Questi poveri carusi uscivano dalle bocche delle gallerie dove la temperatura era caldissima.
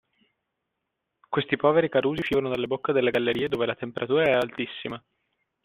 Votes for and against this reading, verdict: 0, 2, rejected